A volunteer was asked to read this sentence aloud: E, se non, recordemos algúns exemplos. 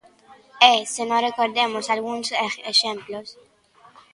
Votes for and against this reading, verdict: 0, 2, rejected